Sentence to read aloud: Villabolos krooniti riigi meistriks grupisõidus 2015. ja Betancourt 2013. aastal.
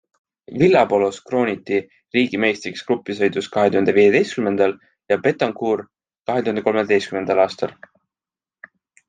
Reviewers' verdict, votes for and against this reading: rejected, 0, 2